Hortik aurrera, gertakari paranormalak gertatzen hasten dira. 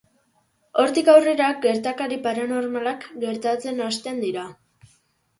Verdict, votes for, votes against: accepted, 2, 0